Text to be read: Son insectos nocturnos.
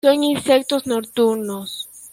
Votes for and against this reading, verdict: 1, 2, rejected